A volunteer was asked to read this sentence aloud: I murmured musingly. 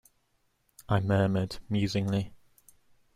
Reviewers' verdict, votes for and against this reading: accepted, 2, 0